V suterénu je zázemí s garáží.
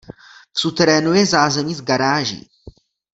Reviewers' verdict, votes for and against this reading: accepted, 2, 0